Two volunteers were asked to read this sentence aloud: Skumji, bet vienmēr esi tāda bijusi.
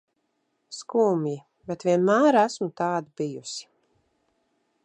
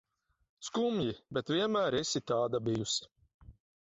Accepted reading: second